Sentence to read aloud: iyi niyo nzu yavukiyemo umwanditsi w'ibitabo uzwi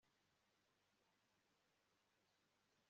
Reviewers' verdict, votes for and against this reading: rejected, 1, 2